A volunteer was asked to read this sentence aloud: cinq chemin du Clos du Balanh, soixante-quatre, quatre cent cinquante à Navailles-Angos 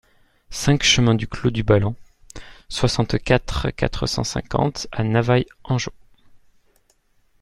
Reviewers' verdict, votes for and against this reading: accepted, 2, 0